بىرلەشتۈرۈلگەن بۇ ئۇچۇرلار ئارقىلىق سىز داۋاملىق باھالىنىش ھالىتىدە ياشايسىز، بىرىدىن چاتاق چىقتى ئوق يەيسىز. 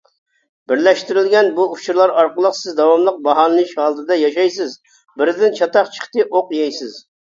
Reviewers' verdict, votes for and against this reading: accepted, 2, 0